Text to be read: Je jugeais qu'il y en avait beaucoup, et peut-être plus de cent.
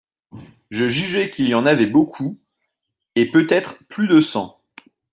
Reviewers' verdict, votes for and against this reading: accepted, 2, 0